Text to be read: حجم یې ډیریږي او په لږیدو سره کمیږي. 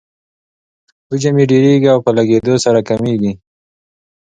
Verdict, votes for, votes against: accepted, 2, 0